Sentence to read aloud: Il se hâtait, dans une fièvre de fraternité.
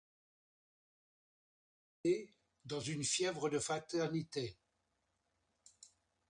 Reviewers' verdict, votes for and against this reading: rejected, 1, 2